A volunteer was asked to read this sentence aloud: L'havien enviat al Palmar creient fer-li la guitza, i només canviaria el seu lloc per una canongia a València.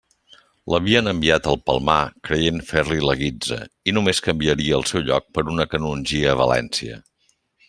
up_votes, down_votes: 2, 0